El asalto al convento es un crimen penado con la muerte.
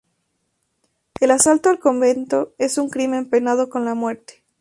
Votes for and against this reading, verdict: 2, 0, accepted